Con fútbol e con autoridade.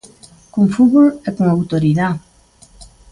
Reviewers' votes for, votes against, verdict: 0, 2, rejected